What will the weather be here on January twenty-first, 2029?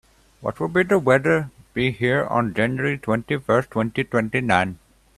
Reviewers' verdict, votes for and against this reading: rejected, 0, 2